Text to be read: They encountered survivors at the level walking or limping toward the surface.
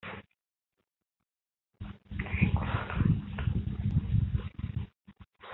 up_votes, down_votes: 0, 2